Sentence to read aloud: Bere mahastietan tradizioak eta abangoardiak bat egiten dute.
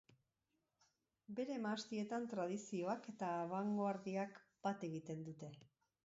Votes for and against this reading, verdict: 5, 0, accepted